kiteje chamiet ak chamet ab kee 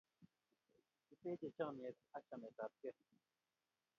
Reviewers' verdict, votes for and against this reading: rejected, 0, 2